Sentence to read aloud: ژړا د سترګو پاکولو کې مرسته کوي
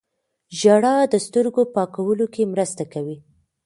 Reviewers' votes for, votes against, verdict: 1, 2, rejected